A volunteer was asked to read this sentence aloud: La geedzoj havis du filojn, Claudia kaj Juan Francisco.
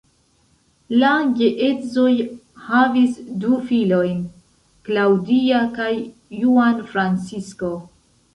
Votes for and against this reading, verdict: 0, 2, rejected